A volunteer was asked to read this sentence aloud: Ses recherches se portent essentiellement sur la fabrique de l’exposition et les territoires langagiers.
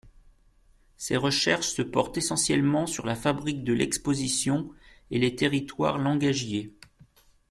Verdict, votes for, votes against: accepted, 2, 0